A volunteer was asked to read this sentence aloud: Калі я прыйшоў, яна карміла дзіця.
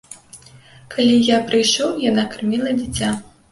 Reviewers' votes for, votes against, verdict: 2, 0, accepted